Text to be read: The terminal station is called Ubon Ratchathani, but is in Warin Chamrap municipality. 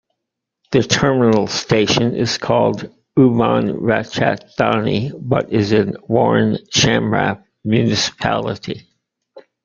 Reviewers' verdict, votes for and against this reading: rejected, 0, 2